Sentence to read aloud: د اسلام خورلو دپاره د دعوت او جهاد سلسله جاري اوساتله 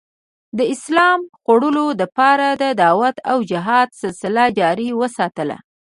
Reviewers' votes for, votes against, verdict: 1, 2, rejected